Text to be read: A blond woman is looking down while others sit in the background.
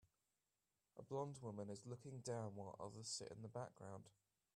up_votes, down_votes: 2, 0